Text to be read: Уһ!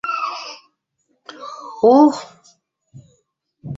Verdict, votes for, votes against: rejected, 0, 2